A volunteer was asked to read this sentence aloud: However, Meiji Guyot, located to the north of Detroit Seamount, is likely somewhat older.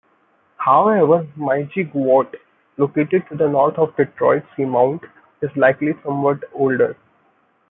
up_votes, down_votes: 2, 0